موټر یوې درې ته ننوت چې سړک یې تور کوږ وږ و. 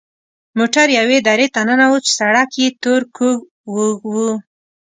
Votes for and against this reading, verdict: 2, 0, accepted